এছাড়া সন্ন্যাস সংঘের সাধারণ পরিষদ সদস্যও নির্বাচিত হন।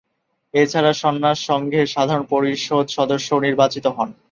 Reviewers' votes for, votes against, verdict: 0, 2, rejected